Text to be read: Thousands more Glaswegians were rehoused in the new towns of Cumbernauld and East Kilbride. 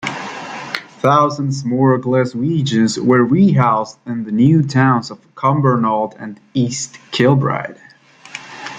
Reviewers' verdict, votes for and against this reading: rejected, 0, 2